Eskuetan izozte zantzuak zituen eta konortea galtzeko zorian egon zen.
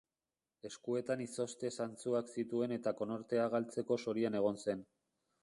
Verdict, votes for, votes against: accepted, 2, 0